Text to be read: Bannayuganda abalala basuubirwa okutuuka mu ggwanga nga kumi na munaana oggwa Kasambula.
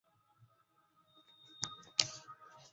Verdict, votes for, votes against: rejected, 0, 2